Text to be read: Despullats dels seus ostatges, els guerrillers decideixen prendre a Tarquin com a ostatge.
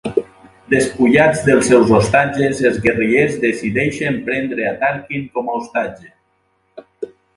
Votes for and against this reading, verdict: 2, 2, rejected